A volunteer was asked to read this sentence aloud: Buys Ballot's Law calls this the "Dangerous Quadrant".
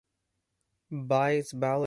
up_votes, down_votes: 0, 2